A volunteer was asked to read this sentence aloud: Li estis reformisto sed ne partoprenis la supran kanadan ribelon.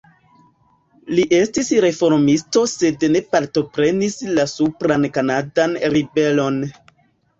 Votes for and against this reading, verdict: 2, 1, accepted